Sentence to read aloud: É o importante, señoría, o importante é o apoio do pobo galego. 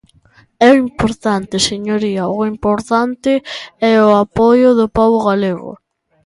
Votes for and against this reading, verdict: 2, 0, accepted